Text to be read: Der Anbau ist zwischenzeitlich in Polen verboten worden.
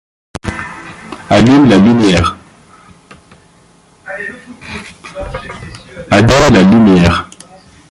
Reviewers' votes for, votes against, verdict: 0, 2, rejected